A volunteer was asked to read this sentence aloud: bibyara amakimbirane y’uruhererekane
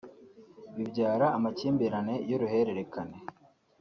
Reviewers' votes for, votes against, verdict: 4, 0, accepted